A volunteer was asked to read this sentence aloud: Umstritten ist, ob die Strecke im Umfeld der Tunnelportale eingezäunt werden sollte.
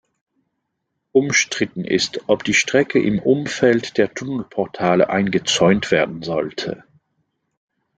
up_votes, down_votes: 2, 0